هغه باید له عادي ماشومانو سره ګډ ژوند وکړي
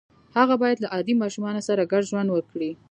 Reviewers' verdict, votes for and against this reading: accepted, 2, 0